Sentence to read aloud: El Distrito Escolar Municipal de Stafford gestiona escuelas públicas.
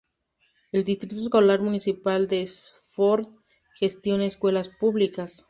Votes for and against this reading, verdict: 0, 2, rejected